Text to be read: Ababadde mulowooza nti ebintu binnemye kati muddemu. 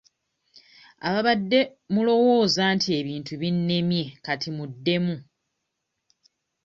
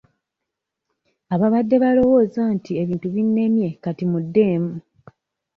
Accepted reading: first